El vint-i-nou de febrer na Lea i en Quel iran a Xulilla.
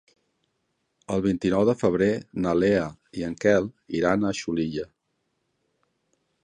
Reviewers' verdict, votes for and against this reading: accepted, 2, 0